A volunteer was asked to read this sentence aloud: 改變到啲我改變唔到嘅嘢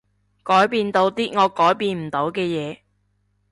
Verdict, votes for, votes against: accepted, 2, 0